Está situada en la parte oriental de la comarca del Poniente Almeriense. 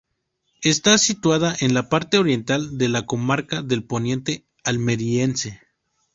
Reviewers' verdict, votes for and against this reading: accepted, 2, 0